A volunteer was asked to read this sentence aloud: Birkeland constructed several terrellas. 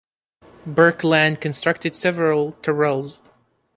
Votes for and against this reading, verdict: 0, 2, rejected